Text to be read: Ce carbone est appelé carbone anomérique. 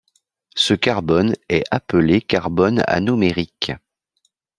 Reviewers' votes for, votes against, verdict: 2, 0, accepted